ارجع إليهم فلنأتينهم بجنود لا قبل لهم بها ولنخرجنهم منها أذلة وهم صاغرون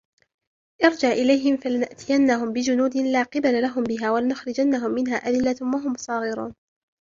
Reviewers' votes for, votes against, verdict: 2, 1, accepted